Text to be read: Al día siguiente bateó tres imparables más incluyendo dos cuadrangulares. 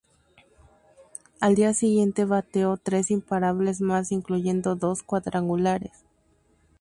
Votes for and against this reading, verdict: 2, 0, accepted